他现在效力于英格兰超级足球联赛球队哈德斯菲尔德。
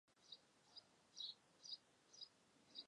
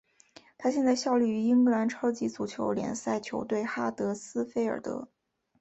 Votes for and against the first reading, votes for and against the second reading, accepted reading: 1, 3, 6, 0, second